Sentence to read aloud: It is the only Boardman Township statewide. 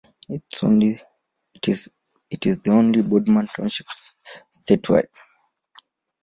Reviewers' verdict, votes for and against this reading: rejected, 0, 2